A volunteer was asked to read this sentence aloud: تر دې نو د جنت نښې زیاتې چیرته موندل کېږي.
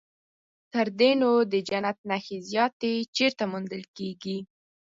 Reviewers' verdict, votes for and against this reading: accepted, 4, 0